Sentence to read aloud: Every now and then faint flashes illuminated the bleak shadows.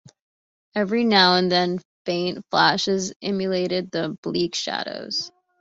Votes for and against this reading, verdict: 1, 2, rejected